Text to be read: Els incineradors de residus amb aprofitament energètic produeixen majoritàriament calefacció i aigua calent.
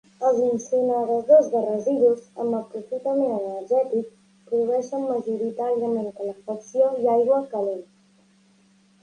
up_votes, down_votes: 2, 1